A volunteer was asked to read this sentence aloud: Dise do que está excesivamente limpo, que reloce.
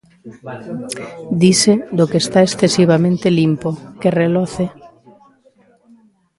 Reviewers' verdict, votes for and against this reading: accepted, 2, 1